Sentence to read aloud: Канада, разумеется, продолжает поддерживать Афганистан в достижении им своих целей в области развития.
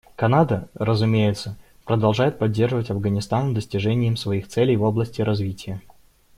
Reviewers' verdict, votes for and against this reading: accepted, 2, 0